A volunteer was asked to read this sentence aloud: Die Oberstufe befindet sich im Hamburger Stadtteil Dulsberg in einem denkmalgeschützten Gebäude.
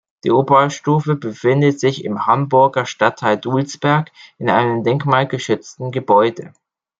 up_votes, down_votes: 2, 0